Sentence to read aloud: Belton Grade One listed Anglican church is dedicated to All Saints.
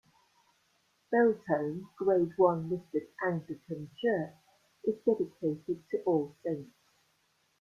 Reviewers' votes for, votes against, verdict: 2, 1, accepted